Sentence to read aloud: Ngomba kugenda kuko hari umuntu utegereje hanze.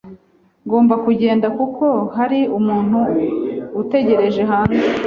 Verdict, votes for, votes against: accepted, 2, 0